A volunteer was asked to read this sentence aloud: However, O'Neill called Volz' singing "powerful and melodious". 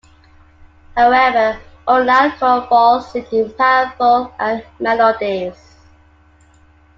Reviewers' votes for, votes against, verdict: 0, 2, rejected